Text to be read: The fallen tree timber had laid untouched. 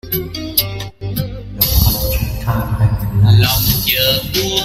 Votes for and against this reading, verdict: 0, 2, rejected